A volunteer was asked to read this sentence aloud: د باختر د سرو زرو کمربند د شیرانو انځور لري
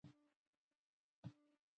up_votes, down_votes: 0, 2